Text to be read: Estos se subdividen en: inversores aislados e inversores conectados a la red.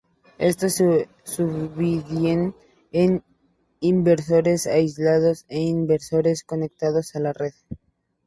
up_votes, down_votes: 0, 2